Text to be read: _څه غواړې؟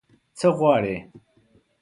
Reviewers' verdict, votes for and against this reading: accepted, 2, 0